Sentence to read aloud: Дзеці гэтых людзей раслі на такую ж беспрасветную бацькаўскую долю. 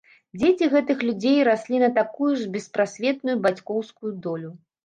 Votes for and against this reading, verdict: 1, 2, rejected